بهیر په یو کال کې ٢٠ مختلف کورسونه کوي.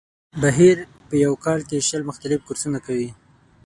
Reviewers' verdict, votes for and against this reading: rejected, 0, 2